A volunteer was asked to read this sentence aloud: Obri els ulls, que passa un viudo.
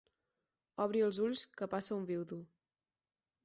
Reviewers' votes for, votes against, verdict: 4, 0, accepted